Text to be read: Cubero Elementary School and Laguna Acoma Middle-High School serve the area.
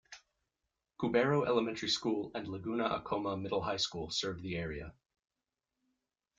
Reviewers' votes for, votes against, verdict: 2, 0, accepted